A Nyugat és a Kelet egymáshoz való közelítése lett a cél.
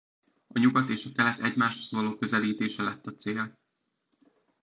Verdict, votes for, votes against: rejected, 1, 2